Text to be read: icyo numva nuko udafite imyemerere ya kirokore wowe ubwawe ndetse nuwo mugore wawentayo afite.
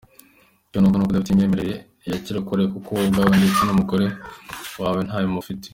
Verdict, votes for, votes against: rejected, 0, 2